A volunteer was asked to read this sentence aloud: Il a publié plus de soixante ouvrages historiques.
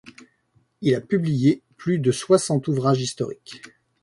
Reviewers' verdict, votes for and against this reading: accepted, 2, 0